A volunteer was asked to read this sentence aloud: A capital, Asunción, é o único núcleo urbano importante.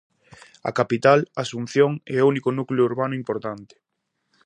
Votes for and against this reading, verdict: 2, 0, accepted